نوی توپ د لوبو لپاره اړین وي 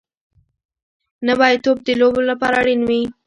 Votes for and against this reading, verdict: 2, 0, accepted